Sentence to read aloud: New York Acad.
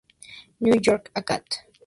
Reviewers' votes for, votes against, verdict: 2, 0, accepted